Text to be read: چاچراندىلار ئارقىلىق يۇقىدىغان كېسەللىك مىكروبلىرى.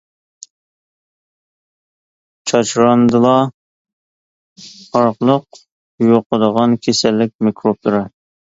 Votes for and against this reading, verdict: 0, 2, rejected